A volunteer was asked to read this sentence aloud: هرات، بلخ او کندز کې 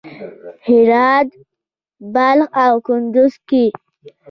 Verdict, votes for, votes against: accepted, 2, 0